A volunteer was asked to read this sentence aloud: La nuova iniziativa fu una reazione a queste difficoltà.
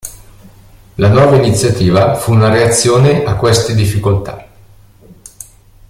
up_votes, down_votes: 2, 0